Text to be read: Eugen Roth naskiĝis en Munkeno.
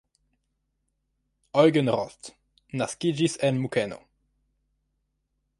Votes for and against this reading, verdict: 2, 0, accepted